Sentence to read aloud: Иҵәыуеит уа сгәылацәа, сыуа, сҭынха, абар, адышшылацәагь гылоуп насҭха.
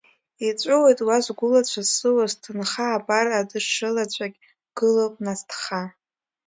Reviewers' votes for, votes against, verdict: 2, 0, accepted